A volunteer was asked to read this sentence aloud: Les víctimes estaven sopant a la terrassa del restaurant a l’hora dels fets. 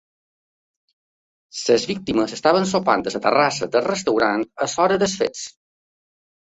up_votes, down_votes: 2, 3